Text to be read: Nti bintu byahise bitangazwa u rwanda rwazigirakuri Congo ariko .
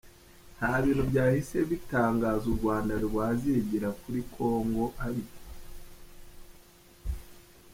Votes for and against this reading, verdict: 3, 2, accepted